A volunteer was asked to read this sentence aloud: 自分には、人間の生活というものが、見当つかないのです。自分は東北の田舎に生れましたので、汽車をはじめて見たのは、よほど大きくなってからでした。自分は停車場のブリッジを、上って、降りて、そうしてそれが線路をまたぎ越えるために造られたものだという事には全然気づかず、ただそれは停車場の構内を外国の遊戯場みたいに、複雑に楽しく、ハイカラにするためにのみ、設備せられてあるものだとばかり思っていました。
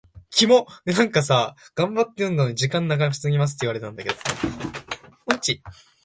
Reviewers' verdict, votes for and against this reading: rejected, 0, 2